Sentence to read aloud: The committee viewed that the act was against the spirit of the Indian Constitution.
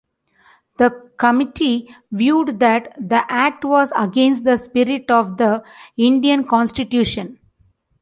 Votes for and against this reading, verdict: 2, 0, accepted